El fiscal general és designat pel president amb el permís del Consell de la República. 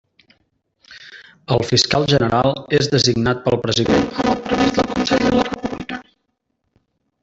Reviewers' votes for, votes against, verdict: 0, 2, rejected